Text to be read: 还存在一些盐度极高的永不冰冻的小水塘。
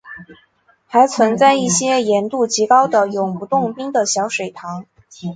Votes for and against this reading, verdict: 3, 4, rejected